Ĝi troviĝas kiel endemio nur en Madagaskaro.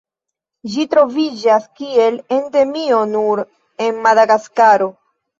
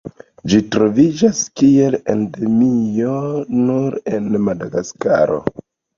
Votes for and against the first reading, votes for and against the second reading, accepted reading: 1, 2, 2, 0, second